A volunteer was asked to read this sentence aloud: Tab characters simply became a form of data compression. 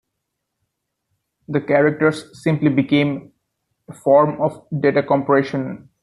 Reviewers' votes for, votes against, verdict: 0, 2, rejected